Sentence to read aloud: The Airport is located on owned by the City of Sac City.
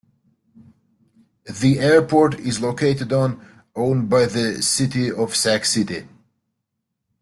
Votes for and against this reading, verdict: 1, 2, rejected